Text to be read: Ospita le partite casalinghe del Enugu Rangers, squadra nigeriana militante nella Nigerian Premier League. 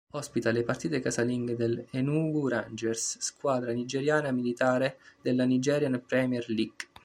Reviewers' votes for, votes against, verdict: 0, 2, rejected